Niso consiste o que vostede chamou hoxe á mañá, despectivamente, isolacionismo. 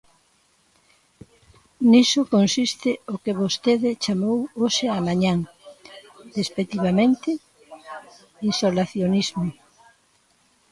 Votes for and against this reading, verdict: 0, 2, rejected